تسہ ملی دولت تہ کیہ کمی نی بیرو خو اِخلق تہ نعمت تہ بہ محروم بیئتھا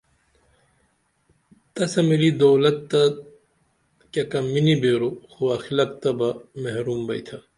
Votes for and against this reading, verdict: 1, 2, rejected